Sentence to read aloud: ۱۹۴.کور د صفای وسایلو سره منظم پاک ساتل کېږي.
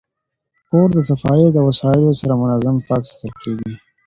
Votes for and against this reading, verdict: 0, 2, rejected